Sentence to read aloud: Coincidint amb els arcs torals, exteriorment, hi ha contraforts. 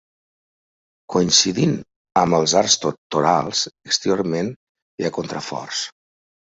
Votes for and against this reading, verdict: 0, 2, rejected